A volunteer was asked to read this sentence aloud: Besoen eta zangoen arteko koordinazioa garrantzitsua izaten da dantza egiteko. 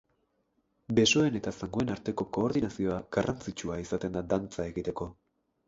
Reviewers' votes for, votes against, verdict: 2, 2, rejected